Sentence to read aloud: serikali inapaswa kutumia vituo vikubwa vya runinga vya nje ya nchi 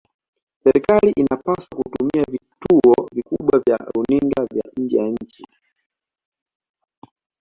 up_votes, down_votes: 2, 1